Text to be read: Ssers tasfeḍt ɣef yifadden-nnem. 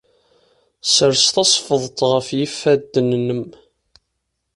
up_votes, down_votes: 2, 0